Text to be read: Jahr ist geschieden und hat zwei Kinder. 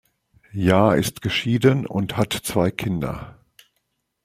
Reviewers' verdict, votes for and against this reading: accepted, 2, 0